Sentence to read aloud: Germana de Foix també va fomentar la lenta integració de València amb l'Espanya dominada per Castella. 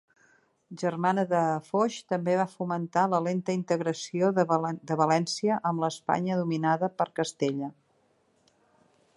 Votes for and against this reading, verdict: 0, 2, rejected